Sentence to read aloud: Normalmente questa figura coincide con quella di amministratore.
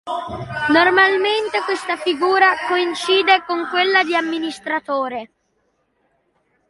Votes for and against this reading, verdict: 2, 1, accepted